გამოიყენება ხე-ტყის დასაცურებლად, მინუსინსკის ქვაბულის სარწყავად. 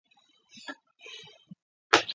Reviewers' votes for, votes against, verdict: 0, 2, rejected